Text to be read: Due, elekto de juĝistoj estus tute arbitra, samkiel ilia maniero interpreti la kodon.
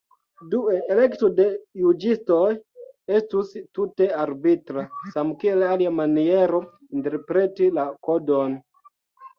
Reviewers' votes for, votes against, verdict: 2, 3, rejected